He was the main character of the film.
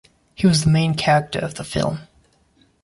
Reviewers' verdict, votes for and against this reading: accepted, 2, 0